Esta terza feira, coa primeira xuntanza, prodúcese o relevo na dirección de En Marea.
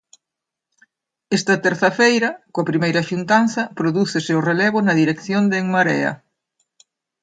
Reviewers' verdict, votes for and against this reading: accepted, 2, 0